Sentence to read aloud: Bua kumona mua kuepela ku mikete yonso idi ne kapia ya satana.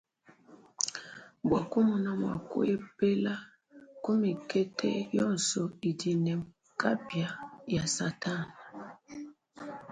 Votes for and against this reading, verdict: 1, 2, rejected